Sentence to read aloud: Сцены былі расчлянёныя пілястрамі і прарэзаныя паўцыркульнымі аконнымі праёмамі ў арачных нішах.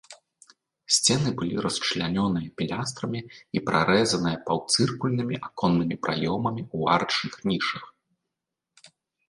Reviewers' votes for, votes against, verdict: 2, 0, accepted